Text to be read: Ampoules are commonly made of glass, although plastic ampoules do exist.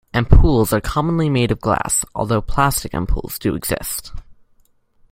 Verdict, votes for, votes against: rejected, 1, 2